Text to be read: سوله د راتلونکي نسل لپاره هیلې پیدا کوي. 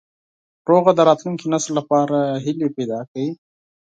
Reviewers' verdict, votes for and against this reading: rejected, 2, 4